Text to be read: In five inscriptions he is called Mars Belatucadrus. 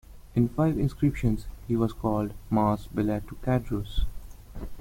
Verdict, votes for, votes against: rejected, 1, 2